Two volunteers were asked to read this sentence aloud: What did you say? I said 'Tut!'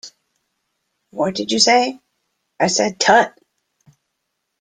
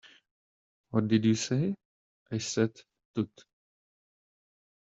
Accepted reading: first